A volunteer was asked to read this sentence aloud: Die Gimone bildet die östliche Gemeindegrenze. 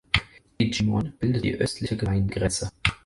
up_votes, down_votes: 0, 4